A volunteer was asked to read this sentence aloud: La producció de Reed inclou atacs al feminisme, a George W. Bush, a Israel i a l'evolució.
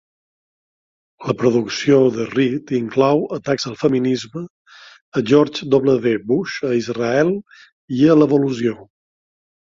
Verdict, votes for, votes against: accepted, 2, 0